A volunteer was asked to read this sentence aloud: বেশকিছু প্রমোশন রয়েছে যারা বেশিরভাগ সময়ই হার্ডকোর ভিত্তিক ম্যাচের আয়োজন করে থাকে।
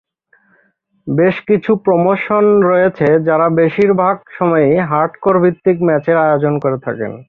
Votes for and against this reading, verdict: 3, 0, accepted